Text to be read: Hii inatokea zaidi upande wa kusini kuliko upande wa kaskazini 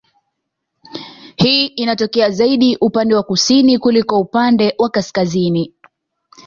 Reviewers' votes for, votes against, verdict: 2, 0, accepted